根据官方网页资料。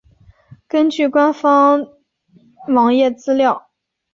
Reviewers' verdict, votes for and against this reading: accepted, 3, 1